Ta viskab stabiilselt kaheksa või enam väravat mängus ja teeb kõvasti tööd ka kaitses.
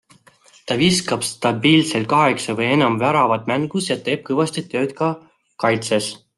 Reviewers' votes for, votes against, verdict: 2, 0, accepted